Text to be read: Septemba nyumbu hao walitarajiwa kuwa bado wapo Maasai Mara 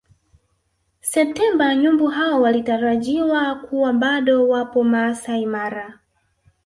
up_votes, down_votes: 1, 2